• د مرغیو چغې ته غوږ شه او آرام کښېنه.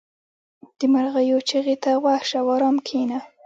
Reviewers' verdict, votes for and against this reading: rejected, 1, 2